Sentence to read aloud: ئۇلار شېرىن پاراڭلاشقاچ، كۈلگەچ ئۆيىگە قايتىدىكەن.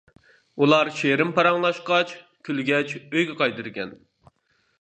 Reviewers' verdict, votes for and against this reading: accepted, 2, 0